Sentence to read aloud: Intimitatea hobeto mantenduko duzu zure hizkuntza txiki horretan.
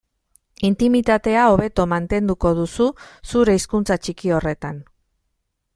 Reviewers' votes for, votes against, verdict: 2, 0, accepted